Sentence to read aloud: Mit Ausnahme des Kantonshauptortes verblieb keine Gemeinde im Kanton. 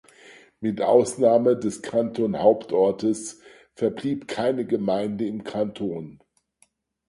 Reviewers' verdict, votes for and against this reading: rejected, 0, 4